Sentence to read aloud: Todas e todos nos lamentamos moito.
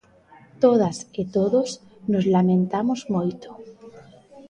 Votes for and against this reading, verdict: 0, 2, rejected